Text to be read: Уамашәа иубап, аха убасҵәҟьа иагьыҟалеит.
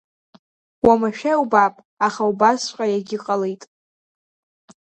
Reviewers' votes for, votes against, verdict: 2, 0, accepted